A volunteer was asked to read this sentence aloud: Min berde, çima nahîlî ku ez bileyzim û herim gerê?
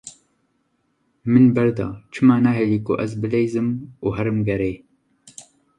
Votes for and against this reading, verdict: 2, 0, accepted